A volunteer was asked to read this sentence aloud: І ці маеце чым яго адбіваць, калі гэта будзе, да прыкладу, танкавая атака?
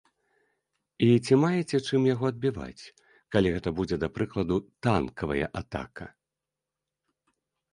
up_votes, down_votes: 2, 0